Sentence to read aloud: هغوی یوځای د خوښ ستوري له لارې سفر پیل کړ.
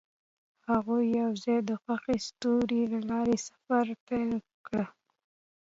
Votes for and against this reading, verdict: 2, 0, accepted